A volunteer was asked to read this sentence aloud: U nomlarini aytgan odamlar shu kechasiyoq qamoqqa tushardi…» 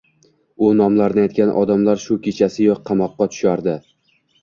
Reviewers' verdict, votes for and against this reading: accepted, 2, 1